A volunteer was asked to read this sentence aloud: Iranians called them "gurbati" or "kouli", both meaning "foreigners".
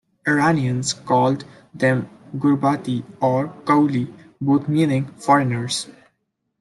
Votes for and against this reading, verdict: 2, 0, accepted